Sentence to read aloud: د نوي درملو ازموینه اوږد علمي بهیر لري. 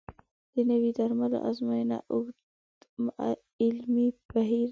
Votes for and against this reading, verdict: 0, 2, rejected